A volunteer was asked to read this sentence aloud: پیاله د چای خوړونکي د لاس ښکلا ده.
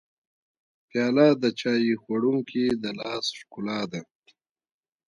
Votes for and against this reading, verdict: 0, 2, rejected